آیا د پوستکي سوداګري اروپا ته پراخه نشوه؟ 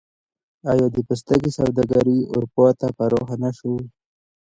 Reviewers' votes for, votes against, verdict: 2, 0, accepted